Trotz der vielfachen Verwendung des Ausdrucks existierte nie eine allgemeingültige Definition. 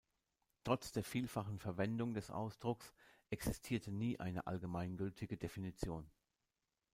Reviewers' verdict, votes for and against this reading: accepted, 2, 0